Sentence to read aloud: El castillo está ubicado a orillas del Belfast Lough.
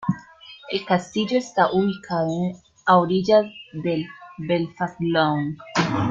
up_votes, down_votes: 2, 1